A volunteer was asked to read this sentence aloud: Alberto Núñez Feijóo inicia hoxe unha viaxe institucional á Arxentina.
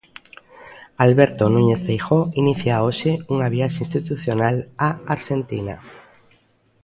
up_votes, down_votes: 2, 0